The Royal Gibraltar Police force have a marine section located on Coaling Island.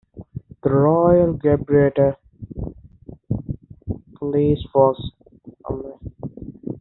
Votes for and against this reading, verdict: 0, 2, rejected